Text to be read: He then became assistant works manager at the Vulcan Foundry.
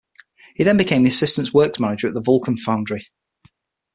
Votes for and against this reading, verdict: 6, 0, accepted